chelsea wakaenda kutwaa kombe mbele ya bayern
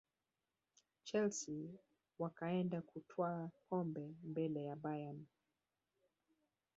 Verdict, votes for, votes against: rejected, 0, 2